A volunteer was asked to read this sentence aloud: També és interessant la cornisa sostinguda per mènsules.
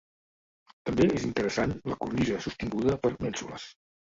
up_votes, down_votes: 0, 2